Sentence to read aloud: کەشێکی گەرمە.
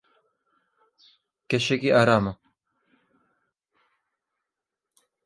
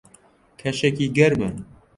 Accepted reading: second